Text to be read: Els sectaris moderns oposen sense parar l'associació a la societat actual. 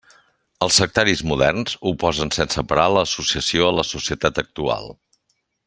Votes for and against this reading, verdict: 2, 0, accepted